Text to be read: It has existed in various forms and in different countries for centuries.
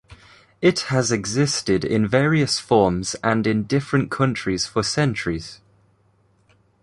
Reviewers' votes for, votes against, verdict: 2, 0, accepted